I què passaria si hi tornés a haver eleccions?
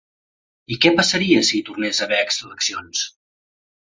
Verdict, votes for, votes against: rejected, 2, 4